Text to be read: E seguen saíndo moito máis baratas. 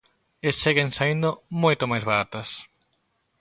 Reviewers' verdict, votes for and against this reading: accepted, 2, 0